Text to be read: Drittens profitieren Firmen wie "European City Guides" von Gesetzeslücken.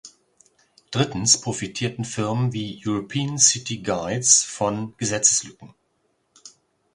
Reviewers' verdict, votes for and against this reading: rejected, 0, 2